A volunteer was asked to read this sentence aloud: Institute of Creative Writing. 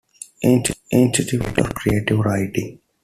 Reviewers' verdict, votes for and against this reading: rejected, 0, 2